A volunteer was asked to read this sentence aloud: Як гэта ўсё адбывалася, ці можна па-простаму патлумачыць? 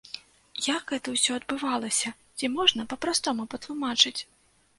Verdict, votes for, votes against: rejected, 0, 2